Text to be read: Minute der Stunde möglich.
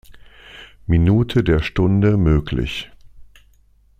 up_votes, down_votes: 2, 0